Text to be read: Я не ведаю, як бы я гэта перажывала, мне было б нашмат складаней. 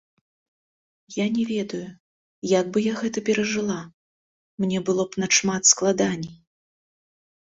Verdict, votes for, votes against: rejected, 0, 2